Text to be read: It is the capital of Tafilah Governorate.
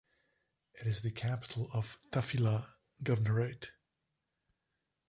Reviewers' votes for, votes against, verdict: 1, 2, rejected